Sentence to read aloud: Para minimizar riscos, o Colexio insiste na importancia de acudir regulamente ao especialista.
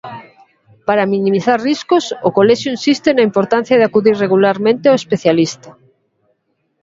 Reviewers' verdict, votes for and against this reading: accepted, 2, 0